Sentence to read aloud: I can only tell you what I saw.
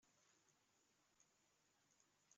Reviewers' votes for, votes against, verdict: 0, 3, rejected